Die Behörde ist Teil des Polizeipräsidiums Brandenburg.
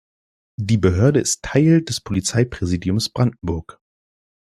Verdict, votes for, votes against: accepted, 2, 0